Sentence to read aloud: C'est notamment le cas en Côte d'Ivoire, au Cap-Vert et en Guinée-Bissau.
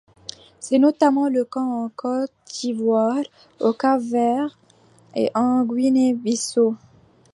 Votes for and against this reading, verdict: 2, 1, accepted